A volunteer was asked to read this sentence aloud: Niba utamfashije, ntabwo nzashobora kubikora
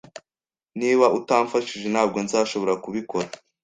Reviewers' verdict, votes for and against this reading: accepted, 2, 0